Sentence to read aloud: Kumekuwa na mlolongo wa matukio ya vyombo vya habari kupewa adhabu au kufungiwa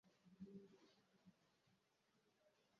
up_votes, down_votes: 0, 2